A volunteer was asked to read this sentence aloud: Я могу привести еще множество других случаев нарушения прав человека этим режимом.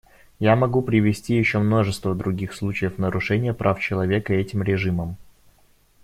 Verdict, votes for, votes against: accepted, 2, 1